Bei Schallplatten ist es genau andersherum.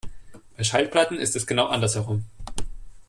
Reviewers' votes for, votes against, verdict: 2, 0, accepted